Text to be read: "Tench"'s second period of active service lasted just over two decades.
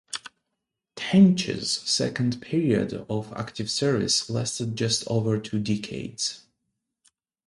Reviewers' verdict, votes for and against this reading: accepted, 2, 0